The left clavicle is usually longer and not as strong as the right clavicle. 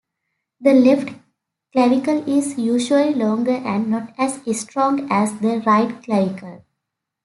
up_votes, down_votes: 2, 0